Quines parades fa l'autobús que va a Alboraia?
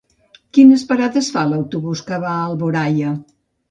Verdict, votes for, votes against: accepted, 2, 0